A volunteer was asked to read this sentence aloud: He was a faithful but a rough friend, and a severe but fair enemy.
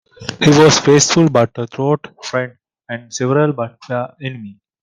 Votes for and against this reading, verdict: 1, 2, rejected